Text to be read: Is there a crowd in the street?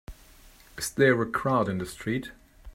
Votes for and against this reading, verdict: 2, 0, accepted